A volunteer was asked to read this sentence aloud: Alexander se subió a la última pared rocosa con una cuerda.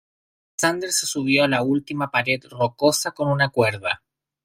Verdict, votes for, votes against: rejected, 0, 2